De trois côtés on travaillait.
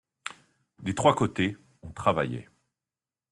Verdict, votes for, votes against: rejected, 1, 2